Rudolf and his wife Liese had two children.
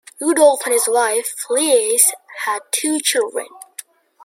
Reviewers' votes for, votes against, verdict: 2, 0, accepted